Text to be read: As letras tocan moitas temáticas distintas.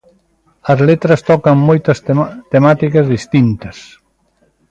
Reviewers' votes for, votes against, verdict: 0, 2, rejected